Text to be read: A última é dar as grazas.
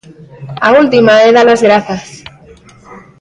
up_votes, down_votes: 0, 2